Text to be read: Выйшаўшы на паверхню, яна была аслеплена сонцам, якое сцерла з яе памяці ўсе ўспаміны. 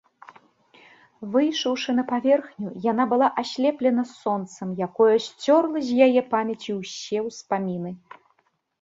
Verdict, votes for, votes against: rejected, 0, 2